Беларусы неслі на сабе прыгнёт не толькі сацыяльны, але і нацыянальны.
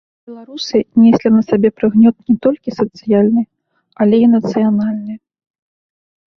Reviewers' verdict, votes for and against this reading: rejected, 0, 2